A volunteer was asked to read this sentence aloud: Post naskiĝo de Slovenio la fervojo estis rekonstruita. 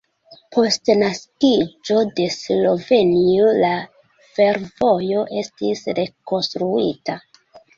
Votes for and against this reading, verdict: 1, 2, rejected